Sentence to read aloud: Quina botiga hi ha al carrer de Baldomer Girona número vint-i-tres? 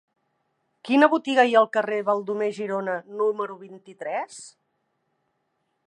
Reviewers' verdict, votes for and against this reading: rejected, 2, 3